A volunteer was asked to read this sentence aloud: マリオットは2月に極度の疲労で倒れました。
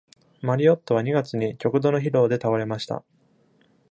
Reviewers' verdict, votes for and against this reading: rejected, 0, 2